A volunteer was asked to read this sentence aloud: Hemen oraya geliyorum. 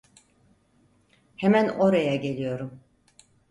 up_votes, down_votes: 4, 0